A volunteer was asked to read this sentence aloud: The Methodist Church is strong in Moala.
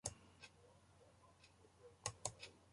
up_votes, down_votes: 0, 2